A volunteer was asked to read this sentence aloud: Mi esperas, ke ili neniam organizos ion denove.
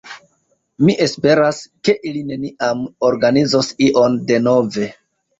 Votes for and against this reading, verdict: 2, 0, accepted